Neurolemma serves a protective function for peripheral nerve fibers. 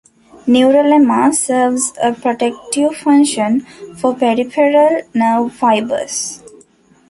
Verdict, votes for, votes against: rejected, 1, 3